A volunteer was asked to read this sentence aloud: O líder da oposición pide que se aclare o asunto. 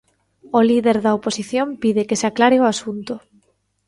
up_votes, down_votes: 2, 0